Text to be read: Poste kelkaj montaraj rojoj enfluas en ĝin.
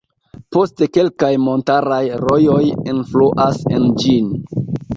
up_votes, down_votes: 0, 2